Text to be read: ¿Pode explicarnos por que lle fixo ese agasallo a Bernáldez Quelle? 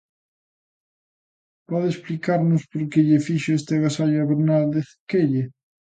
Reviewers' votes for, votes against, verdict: 1, 2, rejected